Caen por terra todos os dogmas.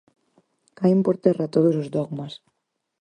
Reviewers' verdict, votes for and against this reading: accepted, 4, 0